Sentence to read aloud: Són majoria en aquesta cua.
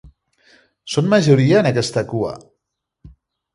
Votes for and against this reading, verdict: 3, 0, accepted